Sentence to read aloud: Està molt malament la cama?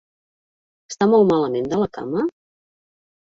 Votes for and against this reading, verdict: 0, 2, rejected